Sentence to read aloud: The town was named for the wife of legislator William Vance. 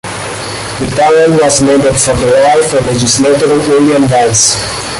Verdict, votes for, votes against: rejected, 1, 2